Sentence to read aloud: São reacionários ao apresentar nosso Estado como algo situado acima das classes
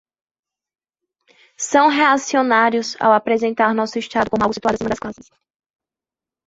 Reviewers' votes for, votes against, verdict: 0, 2, rejected